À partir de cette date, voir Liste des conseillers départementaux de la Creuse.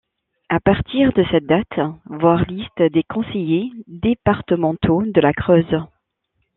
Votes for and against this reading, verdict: 2, 1, accepted